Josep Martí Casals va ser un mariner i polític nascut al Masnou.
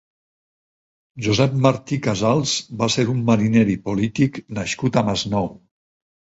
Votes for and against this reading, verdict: 2, 4, rejected